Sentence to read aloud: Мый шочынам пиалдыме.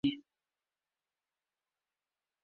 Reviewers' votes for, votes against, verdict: 0, 2, rejected